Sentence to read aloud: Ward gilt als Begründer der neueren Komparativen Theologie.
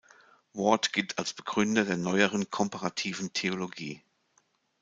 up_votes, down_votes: 2, 0